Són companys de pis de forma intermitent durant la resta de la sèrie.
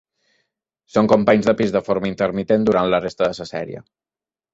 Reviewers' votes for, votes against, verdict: 1, 2, rejected